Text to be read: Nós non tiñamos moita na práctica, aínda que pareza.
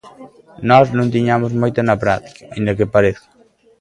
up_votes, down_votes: 2, 0